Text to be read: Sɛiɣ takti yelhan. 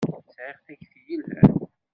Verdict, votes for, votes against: rejected, 1, 2